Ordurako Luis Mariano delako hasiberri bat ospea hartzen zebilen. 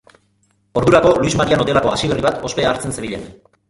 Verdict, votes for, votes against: rejected, 0, 2